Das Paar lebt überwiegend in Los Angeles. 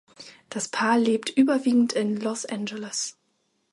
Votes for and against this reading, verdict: 2, 0, accepted